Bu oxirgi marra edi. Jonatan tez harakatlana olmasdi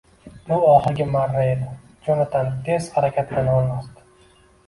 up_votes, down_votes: 1, 2